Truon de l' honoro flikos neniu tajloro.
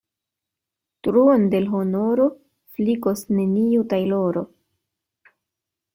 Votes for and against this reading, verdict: 2, 0, accepted